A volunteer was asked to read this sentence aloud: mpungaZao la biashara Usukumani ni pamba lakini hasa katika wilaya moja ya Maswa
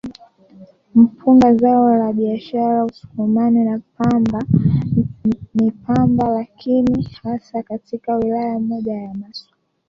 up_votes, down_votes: 2, 3